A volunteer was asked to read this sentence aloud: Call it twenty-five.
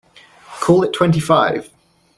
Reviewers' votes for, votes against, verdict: 2, 0, accepted